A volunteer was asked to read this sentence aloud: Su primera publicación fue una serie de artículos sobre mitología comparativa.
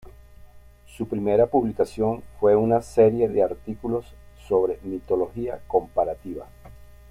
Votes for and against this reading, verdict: 0, 2, rejected